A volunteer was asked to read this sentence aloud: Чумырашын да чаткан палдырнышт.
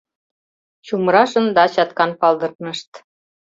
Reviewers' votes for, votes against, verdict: 1, 2, rejected